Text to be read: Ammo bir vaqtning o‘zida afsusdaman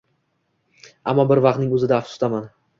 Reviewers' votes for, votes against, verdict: 2, 0, accepted